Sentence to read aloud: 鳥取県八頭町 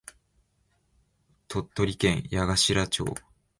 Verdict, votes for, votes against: accepted, 2, 0